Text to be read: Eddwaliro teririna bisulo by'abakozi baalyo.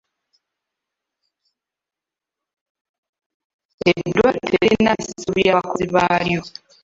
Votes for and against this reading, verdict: 1, 2, rejected